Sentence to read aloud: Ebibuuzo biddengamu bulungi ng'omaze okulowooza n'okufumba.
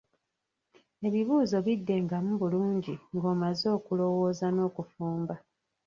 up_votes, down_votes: 0, 2